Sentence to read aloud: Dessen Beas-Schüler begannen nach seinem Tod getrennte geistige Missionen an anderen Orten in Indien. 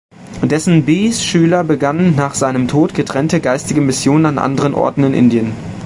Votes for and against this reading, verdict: 1, 2, rejected